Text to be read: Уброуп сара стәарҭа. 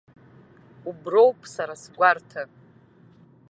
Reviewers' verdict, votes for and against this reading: rejected, 0, 2